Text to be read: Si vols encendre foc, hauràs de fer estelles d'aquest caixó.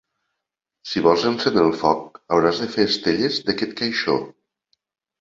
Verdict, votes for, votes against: rejected, 0, 2